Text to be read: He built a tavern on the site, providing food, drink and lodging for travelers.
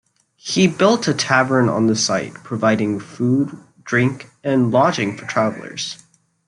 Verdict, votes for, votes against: accepted, 2, 0